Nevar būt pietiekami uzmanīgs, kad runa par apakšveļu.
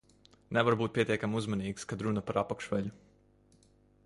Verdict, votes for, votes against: accepted, 2, 0